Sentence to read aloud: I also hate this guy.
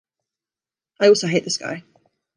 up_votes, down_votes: 2, 0